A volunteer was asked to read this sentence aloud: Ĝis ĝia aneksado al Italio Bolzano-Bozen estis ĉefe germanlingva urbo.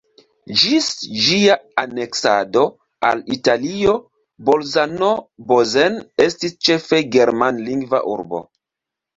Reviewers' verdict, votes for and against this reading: accepted, 2, 0